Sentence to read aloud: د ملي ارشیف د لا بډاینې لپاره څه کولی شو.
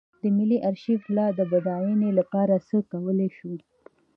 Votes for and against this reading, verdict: 2, 1, accepted